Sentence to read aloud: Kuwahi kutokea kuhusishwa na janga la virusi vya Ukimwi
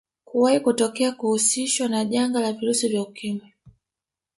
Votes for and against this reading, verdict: 0, 2, rejected